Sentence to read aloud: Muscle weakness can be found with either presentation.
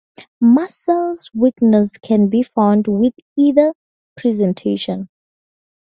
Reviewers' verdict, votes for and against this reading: rejected, 0, 2